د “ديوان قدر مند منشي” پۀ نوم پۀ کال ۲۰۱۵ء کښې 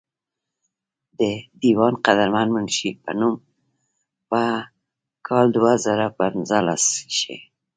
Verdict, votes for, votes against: rejected, 0, 2